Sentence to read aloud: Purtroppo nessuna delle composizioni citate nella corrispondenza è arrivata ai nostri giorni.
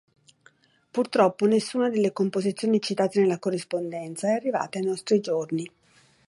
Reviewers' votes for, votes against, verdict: 2, 0, accepted